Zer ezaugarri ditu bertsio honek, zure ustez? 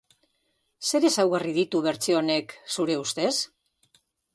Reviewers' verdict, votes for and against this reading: accepted, 2, 0